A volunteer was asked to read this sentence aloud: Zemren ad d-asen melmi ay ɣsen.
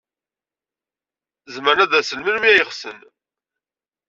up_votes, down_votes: 2, 0